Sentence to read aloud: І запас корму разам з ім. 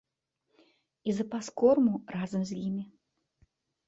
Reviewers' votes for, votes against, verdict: 0, 2, rejected